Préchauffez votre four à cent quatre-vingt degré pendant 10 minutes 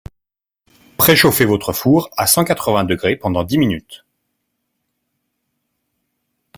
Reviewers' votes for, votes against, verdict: 0, 2, rejected